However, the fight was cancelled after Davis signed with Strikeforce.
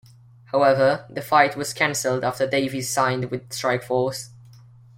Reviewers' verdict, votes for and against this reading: accepted, 2, 0